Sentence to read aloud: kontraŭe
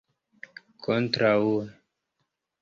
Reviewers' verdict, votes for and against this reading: rejected, 0, 2